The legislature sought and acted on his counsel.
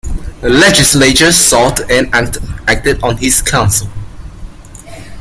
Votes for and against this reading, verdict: 2, 0, accepted